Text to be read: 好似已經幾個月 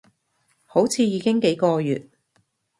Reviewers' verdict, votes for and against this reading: accepted, 2, 0